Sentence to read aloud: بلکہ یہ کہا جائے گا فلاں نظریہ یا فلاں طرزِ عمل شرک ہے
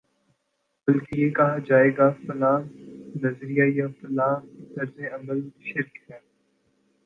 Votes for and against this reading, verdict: 0, 2, rejected